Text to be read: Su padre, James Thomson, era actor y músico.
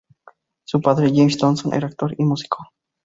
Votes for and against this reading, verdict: 2, 2, rejected